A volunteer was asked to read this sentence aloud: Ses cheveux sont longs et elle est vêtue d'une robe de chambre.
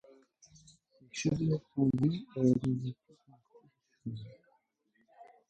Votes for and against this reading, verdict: 0, 2, rejected